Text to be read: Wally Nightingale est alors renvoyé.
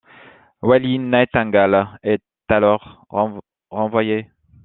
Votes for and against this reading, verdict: 0, 2, rejected